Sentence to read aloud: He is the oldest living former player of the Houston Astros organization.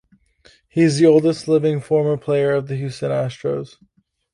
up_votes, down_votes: 0, 2